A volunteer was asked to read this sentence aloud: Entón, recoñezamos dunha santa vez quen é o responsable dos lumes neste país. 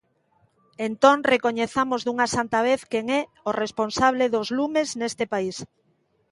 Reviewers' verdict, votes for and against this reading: accepted, 2, 0